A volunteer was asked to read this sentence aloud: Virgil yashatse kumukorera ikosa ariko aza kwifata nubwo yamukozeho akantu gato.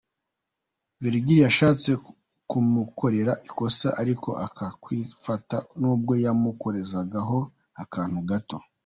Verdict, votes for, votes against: rejected, 0, 2